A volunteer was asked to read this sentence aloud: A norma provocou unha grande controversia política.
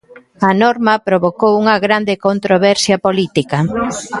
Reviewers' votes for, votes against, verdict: 0, 2, rejected